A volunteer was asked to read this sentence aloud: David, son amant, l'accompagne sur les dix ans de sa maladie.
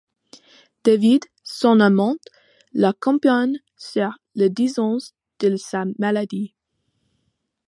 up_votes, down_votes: 2, 1